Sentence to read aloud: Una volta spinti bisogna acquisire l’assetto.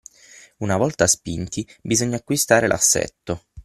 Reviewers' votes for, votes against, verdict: 0, 6, rejected